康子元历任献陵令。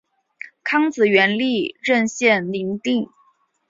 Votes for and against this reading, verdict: 1, 2, rejected